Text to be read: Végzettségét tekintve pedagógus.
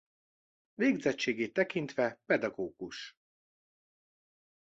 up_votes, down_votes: 2, 0